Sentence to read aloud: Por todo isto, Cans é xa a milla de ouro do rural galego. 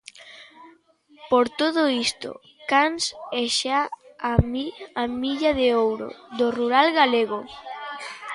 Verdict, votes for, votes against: rejected, 0, 2